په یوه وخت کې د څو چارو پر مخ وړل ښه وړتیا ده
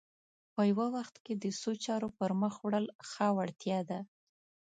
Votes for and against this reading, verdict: 2, 0, accepted